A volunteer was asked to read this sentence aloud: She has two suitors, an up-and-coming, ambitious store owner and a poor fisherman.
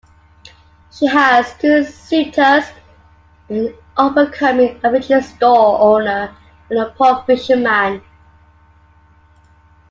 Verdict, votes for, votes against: accepted, 2, 1